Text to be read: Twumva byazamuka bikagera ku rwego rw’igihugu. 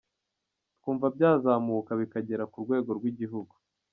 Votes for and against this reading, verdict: 2, 0, accepted